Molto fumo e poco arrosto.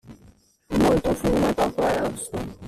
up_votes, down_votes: 2, 1